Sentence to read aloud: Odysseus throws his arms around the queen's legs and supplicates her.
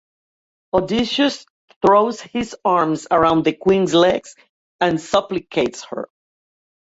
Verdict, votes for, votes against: accepted, 2, 0